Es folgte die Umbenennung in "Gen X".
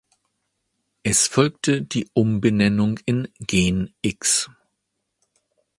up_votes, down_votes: 2, 1